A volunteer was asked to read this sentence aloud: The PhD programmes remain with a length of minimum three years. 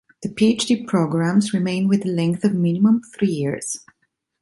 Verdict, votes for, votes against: rejected, 1, 2